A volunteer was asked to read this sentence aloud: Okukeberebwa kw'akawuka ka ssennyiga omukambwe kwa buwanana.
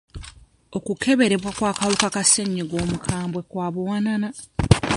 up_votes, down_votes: 1, 2